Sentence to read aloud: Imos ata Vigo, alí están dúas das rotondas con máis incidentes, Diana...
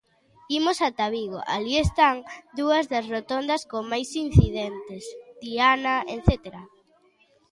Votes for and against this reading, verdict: 0, 3, rejected